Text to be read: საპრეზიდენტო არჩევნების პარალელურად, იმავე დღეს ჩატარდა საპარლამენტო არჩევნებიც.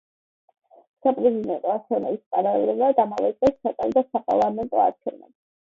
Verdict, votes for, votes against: rejected, 1, 2